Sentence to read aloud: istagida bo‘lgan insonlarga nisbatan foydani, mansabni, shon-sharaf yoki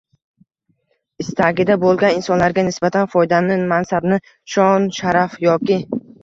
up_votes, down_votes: 1, 2